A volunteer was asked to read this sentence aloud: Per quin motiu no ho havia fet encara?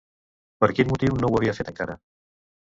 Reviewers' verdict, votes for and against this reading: accepted, 2, 1